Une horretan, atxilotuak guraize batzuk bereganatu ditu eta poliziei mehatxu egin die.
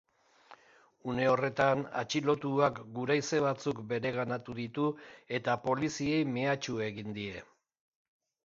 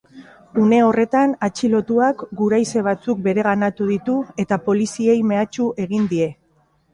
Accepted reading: first